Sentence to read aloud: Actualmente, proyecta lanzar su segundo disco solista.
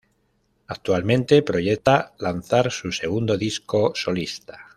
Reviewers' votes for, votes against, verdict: 0, 2, rejected